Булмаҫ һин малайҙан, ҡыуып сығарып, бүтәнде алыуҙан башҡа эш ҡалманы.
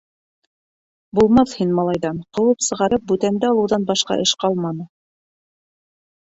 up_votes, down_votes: 0, 2